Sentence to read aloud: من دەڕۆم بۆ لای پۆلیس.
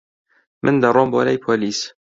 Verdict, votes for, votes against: accepted, 2, 0